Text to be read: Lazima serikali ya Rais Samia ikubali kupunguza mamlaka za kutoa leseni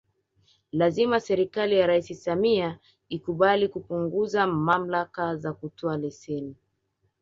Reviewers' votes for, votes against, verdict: 2, 0, accepted